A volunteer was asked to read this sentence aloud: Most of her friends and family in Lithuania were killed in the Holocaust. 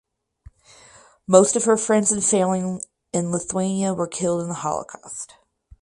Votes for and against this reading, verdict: 0, 4, rejected